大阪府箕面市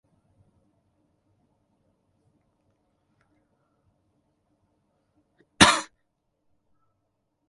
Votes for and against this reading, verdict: 0, 2, rejected